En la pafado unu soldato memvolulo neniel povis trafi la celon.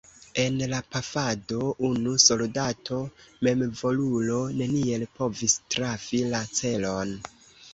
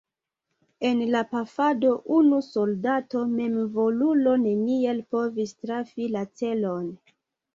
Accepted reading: second